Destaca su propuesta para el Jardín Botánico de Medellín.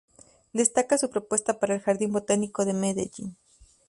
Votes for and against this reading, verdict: 2, 0, accepted